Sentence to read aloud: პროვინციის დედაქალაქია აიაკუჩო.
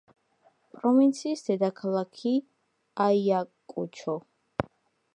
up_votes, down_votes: 1, 2